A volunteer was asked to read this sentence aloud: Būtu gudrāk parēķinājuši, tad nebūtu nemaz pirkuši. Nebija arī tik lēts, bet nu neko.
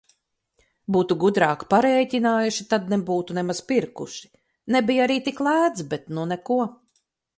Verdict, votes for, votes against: accepted, 4, 0